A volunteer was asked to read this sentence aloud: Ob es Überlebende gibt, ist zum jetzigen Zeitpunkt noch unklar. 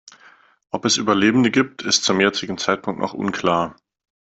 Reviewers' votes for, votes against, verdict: 2, 0, accepted